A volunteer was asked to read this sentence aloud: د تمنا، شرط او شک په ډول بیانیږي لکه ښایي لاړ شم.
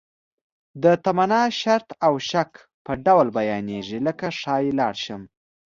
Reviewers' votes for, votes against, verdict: 2, 0, accepted